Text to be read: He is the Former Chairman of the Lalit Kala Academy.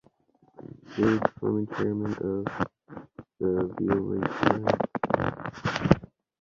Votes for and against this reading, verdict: 0, 2, rejected